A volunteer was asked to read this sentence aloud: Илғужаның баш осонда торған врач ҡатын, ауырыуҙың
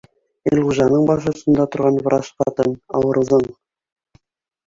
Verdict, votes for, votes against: accepted, 2, 0